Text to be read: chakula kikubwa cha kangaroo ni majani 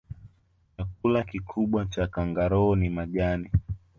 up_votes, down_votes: 1, 2